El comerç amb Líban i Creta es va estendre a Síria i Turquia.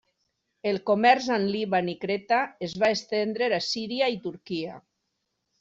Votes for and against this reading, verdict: 2, 0, accepted